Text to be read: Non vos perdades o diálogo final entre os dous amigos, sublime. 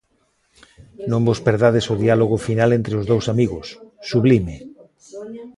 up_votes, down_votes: 0, 2